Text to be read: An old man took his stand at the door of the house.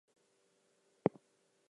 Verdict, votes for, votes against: rejected, 0, 2